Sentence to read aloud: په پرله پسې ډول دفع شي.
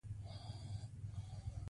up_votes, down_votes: 2, 0